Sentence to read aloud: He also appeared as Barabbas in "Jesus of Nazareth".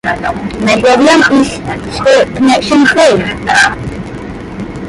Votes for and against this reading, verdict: 0, 2, rejected